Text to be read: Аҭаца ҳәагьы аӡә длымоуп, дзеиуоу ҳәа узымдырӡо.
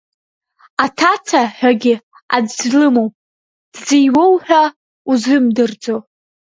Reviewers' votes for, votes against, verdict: 0, 2, rejected